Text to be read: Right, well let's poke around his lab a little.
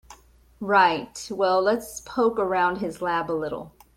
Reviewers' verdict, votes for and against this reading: accepted, 2, 0